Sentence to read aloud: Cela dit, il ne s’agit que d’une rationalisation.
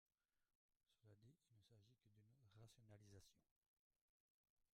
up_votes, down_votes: 0, 2